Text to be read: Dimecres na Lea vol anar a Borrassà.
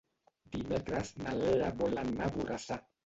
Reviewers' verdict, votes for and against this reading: rejected, 1, 2